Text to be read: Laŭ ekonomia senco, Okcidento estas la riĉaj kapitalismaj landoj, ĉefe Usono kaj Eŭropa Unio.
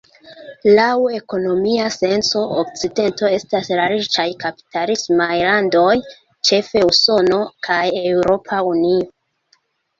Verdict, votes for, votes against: rejected, 0, 2